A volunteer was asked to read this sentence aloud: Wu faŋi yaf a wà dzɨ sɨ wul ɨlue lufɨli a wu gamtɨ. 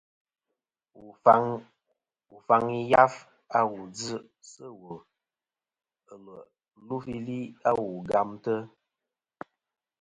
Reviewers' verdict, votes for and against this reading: accepted, 2, 0